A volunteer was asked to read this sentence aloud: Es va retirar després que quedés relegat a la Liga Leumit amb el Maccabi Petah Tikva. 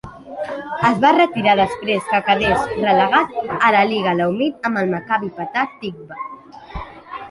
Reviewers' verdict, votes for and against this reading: rejected, 1, 2